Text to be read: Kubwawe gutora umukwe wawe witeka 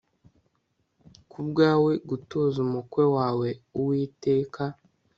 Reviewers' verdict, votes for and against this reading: rejected, 1, 2